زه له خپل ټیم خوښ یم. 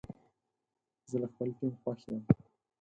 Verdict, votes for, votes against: rejected, 2, 4